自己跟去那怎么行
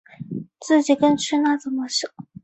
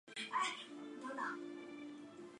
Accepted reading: first